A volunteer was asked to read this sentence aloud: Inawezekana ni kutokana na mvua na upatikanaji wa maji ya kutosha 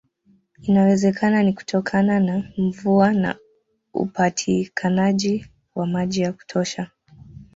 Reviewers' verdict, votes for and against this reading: rejected, 1, 2